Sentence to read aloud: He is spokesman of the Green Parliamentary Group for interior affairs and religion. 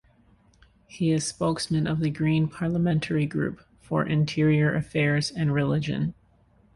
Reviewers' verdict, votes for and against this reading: accepted, 2, 0